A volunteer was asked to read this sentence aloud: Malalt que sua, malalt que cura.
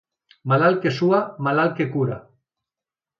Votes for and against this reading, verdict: 2, 0, accepted